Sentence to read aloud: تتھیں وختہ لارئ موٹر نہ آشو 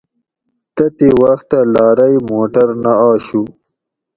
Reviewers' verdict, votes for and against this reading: accepted, 2, 0